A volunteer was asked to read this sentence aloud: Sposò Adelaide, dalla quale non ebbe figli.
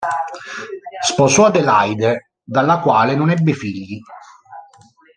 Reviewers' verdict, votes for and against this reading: rejected, 0, 2